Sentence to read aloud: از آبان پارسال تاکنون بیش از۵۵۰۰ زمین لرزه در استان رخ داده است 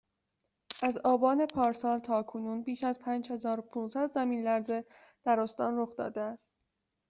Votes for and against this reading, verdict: 0, 2, rejected